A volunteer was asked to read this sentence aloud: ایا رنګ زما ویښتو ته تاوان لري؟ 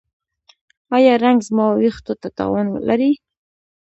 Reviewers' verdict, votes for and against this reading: rejected, 1, 2